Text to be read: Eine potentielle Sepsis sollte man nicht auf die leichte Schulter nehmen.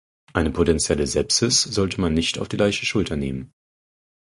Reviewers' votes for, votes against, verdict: 4, 0, accepted